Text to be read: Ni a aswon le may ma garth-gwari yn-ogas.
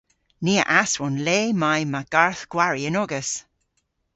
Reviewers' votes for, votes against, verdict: 2, 0, accepted